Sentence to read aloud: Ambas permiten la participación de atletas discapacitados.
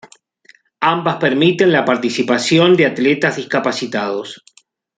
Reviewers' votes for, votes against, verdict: 2, 0, accepted